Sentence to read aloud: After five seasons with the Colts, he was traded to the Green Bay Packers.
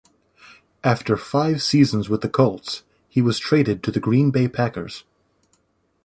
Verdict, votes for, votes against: accepted, 2, 0